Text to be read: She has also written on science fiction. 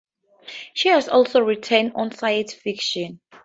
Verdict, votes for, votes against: accepted, 2, 0